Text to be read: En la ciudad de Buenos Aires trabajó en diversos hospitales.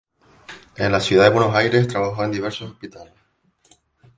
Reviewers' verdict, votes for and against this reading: rejected, 0, 2